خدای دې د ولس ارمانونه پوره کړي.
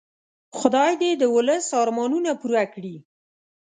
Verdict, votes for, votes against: accepted, 2, 0